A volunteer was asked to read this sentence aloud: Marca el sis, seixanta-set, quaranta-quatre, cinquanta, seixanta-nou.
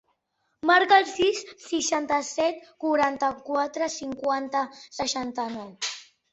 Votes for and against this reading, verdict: 3, 0, accepted